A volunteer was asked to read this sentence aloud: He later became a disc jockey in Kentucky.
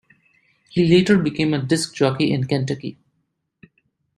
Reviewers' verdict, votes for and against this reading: accepted, 2, 0